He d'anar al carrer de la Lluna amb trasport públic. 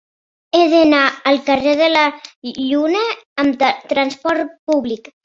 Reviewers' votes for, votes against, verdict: 1, 2, rejected